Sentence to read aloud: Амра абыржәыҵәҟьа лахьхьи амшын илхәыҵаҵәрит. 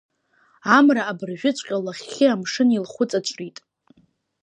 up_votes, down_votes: 3, 0